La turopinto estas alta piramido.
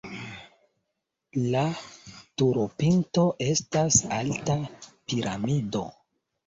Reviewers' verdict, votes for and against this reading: rejected, 0, 2